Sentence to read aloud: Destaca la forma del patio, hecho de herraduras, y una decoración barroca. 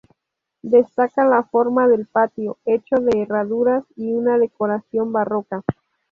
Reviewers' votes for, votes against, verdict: 0, 2, rejected